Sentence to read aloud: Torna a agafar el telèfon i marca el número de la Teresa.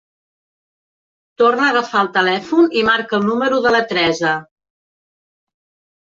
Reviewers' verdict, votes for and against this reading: accepted, 3, 0